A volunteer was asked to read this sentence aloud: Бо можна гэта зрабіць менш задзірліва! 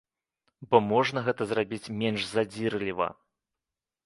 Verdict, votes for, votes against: accepted, 2, 0